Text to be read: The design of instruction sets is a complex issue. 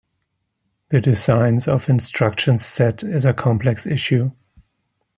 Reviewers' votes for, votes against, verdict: 2, 1, accepted